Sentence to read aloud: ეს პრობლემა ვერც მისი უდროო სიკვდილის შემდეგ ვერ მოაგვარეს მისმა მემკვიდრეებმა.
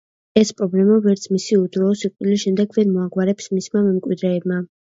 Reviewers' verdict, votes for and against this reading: rejected, 1, 2